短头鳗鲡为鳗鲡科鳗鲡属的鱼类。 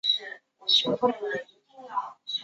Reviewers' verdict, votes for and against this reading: accepted, 2, 0